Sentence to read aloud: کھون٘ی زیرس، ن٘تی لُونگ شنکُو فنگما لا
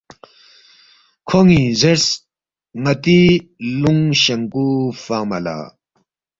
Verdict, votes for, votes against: accepted, 2, 0